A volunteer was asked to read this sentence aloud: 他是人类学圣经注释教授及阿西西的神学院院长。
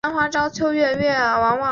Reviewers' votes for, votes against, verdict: 0, 2, rejected